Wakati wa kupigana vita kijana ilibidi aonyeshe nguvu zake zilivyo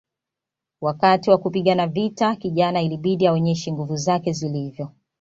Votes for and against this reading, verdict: 2, 0, accepted